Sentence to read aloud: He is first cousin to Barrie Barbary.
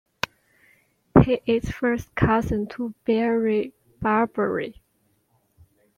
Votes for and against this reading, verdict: 2, 0, accepted